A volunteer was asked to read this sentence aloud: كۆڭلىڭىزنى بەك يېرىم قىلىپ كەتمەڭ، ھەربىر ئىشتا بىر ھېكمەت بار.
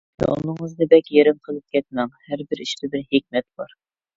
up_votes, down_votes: 0, 2